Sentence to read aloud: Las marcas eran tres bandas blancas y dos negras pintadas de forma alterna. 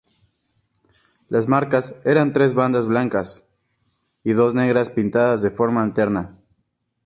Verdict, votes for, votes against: accepted, 4, 0